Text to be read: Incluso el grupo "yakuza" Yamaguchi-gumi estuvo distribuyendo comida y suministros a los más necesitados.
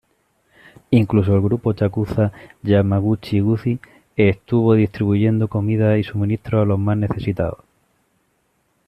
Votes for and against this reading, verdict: 1, 2, rejected